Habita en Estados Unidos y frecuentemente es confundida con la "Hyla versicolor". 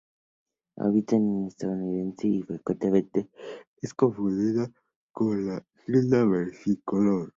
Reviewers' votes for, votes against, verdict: 0, 2, rejected